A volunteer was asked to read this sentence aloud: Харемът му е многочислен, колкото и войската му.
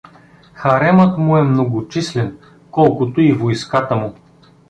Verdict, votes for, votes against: accepted, 2, 0